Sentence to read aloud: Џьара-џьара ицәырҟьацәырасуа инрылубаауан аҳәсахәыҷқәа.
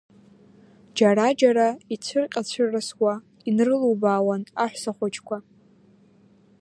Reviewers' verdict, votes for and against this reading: accepted, 2, 0